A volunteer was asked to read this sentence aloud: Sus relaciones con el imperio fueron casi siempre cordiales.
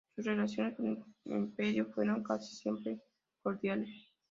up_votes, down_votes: 1, 2